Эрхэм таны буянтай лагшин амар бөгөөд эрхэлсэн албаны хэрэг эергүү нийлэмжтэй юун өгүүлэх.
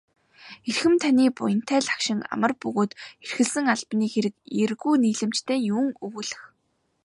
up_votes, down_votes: 3, 0